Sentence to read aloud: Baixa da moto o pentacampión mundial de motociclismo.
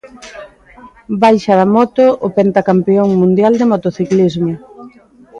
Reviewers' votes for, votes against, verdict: 2, 0, accepted